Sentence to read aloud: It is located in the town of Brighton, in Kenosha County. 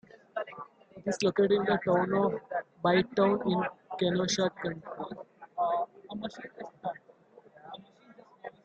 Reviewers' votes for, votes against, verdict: 0, 2, rejected